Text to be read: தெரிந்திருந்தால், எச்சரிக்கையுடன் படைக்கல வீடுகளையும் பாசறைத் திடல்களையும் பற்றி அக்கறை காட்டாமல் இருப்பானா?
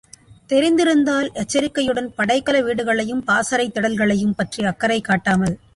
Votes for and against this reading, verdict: 0, 2, rejected